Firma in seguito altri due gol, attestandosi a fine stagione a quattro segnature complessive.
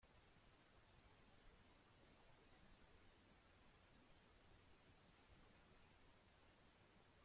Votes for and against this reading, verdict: 0, 3, rejected